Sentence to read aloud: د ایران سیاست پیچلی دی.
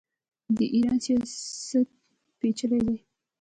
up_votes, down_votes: 0, 2